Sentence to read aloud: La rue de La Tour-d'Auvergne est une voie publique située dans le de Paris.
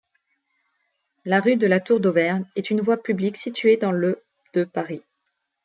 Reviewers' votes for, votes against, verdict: 2, 0, accepted